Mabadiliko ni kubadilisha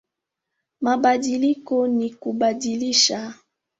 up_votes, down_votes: 3, 0